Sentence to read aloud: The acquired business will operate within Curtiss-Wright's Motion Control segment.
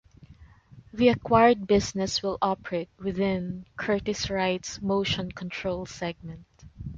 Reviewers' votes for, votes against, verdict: 2, 0, accepted